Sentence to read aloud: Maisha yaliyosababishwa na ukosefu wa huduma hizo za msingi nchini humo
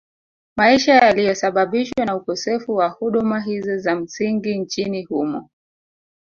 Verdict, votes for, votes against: accepted, 3, 1